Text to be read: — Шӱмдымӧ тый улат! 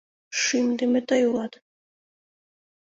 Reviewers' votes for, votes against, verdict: 2, 0, accepted